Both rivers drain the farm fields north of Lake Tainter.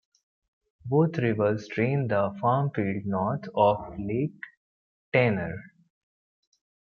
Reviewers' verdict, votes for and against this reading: rejected, 1, 2